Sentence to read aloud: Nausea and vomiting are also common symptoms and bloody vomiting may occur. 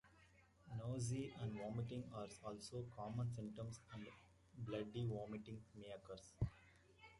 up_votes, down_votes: 1, 2